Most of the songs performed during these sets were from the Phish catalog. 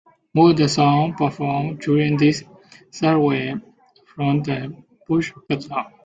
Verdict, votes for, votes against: rejected, 0, 2